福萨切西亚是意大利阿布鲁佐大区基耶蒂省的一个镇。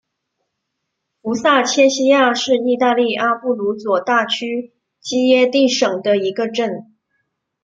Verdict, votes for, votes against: rejected, 0, 2